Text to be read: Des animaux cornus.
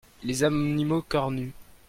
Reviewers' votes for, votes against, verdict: 0, 2, rejected